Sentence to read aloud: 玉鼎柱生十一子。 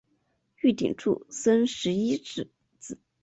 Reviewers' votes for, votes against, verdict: 1, 2, rejected